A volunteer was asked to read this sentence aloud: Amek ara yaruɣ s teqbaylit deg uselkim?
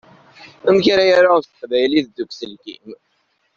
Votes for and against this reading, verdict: 1, 2, rejected